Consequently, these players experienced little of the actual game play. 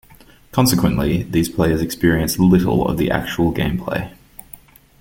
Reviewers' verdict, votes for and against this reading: accepted, 2, 0